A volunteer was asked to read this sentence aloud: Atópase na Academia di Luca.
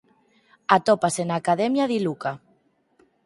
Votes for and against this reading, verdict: 4, 0, accepted